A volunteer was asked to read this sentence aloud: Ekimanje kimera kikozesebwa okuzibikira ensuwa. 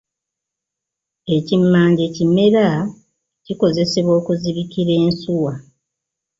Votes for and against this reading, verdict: 1, 2, rejected